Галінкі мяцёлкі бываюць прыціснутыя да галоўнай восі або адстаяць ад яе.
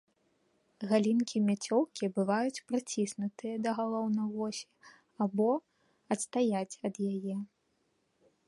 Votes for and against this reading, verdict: 2, 0, accepted